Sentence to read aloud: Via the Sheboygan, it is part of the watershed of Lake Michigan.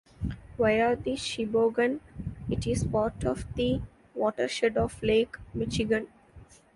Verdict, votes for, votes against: accepted, 2, 0